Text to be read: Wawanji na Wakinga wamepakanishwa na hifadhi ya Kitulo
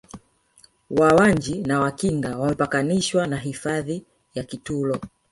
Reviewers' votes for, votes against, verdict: 1, 2, rejected